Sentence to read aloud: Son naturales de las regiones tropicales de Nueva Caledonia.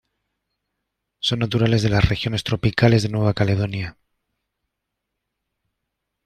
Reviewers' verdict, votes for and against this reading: accepted, 2, 0